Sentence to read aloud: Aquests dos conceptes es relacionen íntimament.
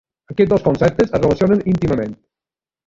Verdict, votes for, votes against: rejected, 1, 2